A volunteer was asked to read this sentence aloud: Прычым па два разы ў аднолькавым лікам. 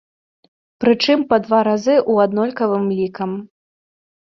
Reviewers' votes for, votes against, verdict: 2, 0, accepted